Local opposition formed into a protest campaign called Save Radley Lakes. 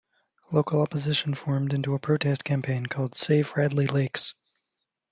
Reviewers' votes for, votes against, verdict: 2, 0, accepted